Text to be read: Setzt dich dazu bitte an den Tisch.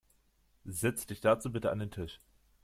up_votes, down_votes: 2, 0